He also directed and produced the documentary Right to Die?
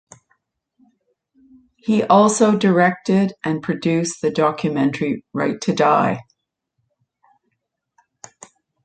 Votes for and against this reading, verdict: 2, 1, accepted